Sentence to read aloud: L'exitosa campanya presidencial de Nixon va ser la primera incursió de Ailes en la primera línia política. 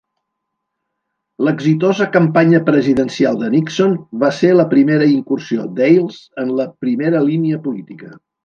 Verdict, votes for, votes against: rejected, 0, 2